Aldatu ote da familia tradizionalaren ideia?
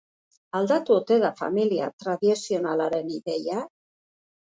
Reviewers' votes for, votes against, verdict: 2, 0, accepted